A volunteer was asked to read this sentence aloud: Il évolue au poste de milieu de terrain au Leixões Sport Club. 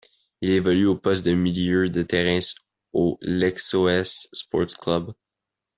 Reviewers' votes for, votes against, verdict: 0, 2, rejected